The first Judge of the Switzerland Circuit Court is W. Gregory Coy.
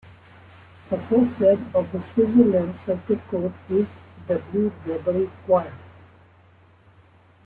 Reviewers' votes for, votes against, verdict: 1, 2, rejected